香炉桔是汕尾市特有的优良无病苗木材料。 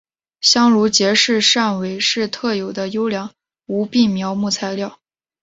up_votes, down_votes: 2, 1